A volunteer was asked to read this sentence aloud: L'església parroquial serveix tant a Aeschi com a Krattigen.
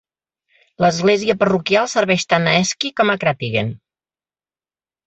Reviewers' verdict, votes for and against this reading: accepted, 3, 0